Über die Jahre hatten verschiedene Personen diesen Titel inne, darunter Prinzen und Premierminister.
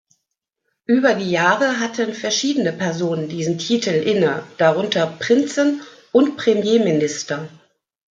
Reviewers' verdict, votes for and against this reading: accepted, 2, 1